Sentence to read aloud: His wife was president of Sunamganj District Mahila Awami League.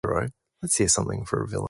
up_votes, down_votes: 0, 4